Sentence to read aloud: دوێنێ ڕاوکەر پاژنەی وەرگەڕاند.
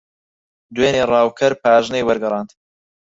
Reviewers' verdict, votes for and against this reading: accepted, 4, 2